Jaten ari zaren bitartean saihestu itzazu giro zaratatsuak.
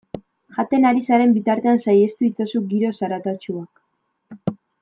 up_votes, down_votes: 2, 0